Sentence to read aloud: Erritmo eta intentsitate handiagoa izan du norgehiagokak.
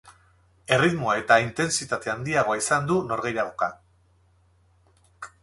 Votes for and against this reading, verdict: 2, 2, rejected